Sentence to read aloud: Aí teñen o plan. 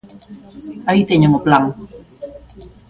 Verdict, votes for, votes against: rejected, 1, 2